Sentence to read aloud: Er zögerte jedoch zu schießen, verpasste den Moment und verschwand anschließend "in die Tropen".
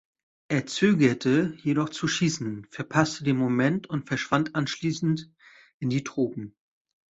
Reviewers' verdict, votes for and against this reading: accepted, 3, 0